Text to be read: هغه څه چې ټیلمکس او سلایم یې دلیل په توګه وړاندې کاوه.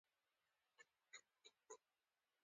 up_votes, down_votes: 2, 0